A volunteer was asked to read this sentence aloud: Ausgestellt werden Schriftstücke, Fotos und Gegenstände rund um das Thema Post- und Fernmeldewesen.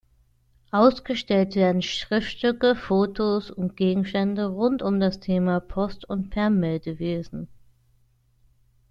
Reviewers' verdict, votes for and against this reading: accepted, 2, 0